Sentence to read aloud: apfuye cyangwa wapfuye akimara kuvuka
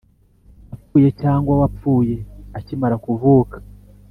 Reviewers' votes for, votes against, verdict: 3, 1, accepted